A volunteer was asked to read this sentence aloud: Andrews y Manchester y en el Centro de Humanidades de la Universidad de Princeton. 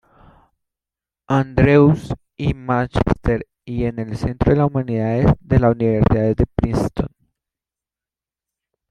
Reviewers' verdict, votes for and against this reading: rejected, 1, 2